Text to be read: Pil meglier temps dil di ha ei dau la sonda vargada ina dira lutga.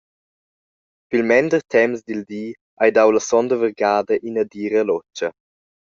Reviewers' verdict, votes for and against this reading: rejected, 0, 2